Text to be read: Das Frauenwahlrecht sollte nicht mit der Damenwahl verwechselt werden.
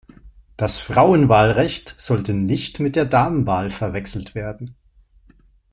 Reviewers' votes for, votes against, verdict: 2, 0, accepted